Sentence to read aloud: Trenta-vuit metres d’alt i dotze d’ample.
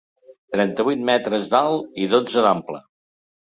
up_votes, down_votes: 4, 0